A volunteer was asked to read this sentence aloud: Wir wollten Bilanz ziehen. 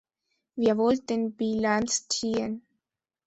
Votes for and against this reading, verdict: 2, 0, accepted